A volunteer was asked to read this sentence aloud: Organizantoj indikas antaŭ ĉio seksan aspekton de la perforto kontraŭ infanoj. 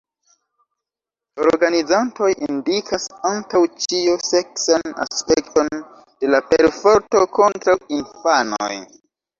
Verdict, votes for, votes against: rejected, 0, 2